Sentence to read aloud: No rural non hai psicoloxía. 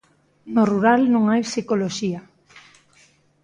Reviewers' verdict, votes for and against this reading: accepted, 2, 0